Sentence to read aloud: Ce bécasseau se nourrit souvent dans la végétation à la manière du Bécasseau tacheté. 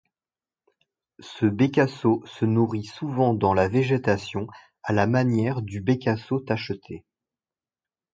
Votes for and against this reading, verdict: 2, 0, accepted